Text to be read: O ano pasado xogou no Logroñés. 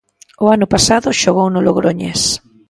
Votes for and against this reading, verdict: 2, 0, accepted